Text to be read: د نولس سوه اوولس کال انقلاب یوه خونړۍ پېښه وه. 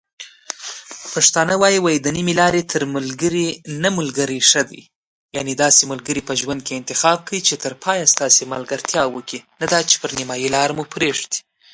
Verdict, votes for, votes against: rejected, 0, 2